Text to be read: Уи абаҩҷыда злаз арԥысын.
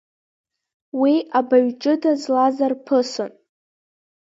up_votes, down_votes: 2, 0